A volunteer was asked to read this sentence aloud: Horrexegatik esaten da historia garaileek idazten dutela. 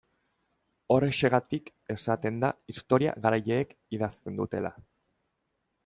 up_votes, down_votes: 2, 0